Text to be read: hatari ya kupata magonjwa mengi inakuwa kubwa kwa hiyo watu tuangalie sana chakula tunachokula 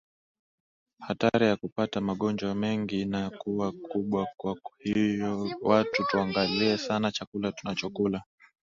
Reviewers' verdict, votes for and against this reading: accepted, 2, 1